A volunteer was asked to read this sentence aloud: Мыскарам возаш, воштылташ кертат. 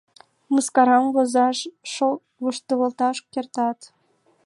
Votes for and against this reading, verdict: 2, 1, accepted